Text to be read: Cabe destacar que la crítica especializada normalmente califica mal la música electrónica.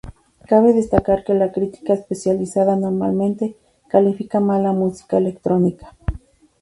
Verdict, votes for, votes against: accepted, 2, 0